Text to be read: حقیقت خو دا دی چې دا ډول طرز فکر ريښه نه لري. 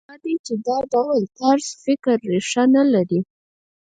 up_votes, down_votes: 0, 4